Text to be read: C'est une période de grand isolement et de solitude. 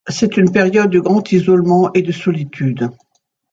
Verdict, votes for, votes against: accepted, 2, 0